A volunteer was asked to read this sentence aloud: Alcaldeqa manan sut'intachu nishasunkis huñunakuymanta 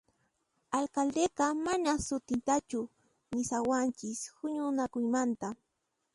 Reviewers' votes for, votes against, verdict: 1, 2, rejected